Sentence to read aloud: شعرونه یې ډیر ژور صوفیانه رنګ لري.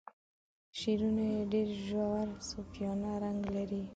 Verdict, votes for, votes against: accepted, 2, 0